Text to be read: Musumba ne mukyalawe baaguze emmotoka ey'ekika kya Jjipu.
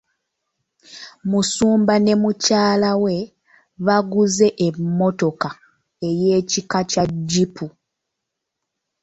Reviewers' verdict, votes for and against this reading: rejected, 1, 2